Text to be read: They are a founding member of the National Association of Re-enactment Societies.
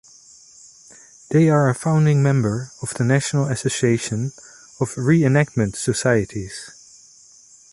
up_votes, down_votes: 2, 0